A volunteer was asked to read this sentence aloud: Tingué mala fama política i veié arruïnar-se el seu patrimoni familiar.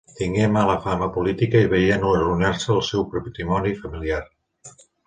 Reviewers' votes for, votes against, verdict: 0, 2, rejected